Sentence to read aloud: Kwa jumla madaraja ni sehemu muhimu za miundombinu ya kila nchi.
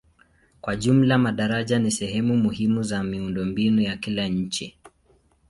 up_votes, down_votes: 2, 0